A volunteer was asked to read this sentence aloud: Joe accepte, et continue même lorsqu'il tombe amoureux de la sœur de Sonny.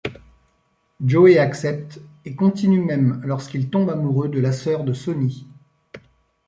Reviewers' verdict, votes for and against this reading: rejected, 1, 2